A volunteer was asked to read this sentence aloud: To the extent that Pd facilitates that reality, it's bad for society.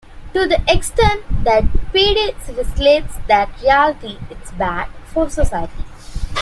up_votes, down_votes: 0, 2